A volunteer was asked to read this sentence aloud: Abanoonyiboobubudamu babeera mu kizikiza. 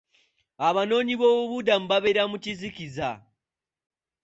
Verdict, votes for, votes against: accepted, 2, 0